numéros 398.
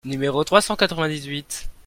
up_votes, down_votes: 0, 2